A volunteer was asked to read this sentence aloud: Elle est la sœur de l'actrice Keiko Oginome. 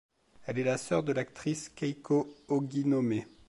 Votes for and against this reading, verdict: 2, 0, accepted